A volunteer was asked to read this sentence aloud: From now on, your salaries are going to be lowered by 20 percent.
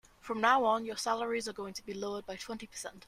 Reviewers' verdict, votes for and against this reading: rejected, 0, 2